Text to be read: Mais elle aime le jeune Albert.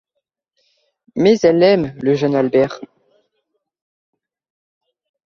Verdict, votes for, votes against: accepted, 3, 0